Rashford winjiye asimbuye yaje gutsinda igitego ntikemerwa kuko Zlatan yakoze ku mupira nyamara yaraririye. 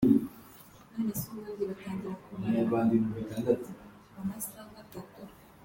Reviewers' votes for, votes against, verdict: 0, 3, rejected